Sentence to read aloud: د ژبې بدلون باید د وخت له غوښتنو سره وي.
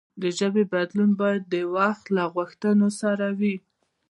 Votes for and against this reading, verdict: 1, 2, rejected